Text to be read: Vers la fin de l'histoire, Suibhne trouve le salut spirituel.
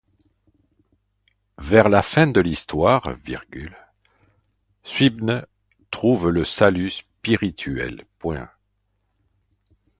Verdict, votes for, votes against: rejected, 1, 2